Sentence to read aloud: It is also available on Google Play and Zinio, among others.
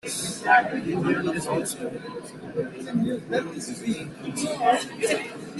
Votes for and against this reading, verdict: 0, 3, rejected